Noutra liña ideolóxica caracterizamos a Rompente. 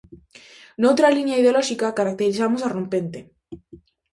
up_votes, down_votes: 2, 0